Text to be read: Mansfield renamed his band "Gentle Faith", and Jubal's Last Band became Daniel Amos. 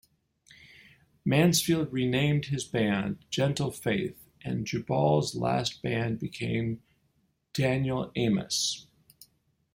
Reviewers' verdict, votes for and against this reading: accepted, 2, 0